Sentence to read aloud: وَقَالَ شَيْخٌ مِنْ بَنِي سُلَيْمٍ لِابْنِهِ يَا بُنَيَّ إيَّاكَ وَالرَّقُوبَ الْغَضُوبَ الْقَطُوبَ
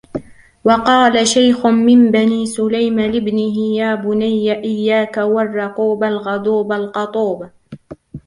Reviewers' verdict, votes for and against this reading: rejected, 1, 2